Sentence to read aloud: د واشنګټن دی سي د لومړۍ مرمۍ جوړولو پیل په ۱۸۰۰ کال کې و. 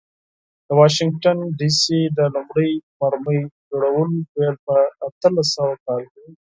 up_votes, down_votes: 0, 2